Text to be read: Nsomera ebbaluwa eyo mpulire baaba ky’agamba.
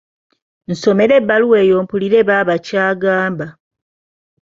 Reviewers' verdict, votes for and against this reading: accepted, 2, 0